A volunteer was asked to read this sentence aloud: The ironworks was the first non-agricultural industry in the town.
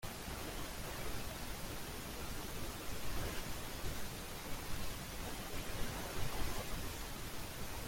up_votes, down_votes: 0, 2